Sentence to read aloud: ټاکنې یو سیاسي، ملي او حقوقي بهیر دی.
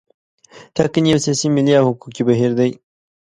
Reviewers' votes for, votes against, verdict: 3, 0, accepted